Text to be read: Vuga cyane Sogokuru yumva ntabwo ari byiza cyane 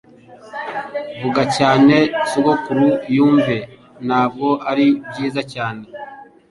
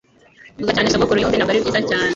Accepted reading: first